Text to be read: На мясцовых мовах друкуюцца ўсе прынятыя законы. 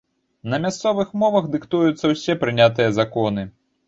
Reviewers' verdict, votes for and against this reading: rejected, 1, 2